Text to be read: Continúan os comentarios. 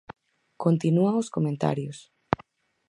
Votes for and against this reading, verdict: 4, 0, accepted